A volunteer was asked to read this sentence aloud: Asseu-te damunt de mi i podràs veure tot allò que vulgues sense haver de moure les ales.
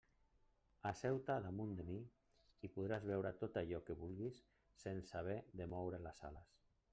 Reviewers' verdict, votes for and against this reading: rejected, 1, 2